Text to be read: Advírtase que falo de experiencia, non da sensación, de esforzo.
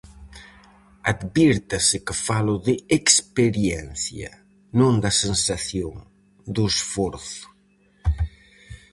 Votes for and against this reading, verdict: 0, 4, rejected